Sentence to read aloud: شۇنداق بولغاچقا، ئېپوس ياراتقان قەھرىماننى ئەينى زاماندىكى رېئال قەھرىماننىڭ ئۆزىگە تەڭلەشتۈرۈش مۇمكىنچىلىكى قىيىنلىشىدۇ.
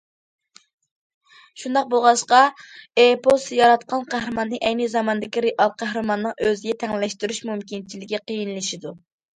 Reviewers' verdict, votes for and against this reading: accepted, 2, 0